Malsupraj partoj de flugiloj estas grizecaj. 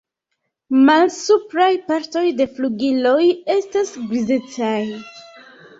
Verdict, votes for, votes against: accepted, 2, 0